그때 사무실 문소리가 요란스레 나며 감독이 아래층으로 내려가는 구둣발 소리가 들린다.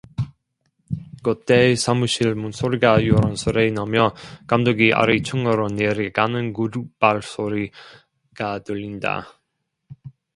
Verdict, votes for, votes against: rejected, 0, 2